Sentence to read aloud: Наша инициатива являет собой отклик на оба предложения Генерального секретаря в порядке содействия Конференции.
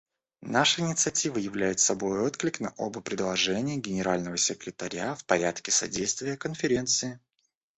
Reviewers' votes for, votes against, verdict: 0, 2, rejected